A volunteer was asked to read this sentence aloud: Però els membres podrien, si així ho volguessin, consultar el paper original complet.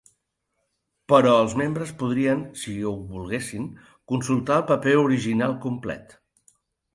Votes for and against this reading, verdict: 0, 3, rejected